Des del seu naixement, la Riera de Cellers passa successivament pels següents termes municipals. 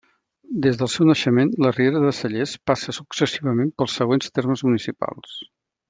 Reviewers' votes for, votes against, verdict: 2, 0, accepted